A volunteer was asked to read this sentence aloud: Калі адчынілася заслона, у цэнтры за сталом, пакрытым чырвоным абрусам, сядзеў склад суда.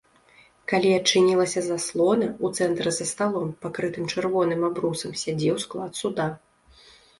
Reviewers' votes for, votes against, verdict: 2, 0, accepted